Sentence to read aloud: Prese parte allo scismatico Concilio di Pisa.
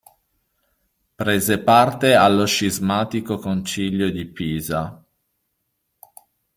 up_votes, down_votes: 2, 0